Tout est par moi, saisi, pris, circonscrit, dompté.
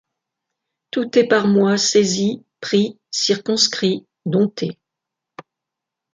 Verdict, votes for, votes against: rejected, 1, 2